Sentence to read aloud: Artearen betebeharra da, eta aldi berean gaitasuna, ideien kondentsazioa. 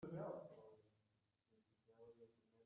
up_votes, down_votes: 0, 2